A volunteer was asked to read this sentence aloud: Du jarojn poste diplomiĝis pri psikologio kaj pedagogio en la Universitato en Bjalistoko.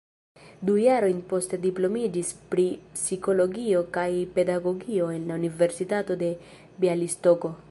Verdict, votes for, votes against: rejected, 1, 2